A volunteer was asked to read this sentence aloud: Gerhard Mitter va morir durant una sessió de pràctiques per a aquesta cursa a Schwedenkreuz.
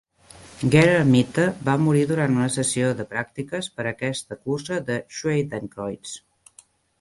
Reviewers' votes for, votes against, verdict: 0, 2, rejected